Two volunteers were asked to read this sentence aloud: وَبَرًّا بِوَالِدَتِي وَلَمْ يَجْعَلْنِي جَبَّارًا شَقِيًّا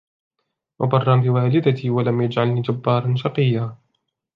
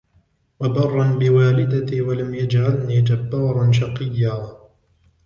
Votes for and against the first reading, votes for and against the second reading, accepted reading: 2, 0, 0, 2, first